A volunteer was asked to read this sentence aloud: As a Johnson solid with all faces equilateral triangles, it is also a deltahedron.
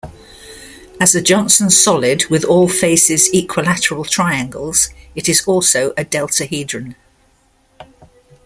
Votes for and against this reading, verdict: 2, 0, accepted